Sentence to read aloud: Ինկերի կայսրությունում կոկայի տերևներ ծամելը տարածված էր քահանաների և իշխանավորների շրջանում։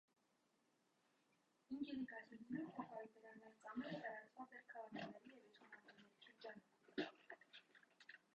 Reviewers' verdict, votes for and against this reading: rejected, 0, 2